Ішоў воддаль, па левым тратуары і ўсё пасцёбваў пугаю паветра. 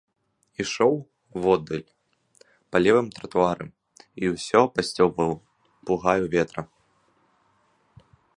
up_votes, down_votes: 0, 2